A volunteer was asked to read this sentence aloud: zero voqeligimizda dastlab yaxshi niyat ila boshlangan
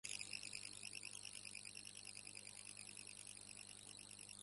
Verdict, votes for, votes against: rejected, 0, 2